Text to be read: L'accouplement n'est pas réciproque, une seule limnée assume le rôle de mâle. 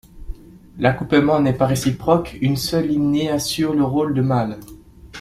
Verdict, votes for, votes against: rejected, 1, 2